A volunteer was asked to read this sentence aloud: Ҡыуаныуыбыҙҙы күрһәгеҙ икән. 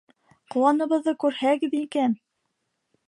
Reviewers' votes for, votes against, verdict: 0, 2, rejected